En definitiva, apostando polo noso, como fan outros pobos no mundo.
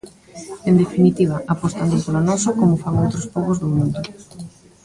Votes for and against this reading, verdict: 0, 2, rejected